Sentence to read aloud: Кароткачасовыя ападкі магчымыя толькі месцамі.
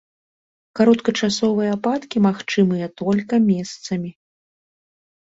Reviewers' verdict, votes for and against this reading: rejected, 0, 2